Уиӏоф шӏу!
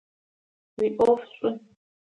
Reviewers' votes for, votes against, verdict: 2, 1, accepted